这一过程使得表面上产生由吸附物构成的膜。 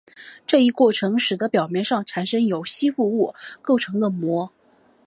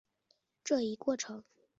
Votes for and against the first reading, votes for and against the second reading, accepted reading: 2, 1, 0, 2, first